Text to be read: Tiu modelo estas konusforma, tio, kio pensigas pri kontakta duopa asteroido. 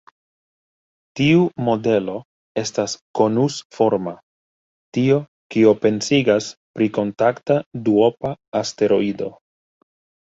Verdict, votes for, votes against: accepted, 2, 1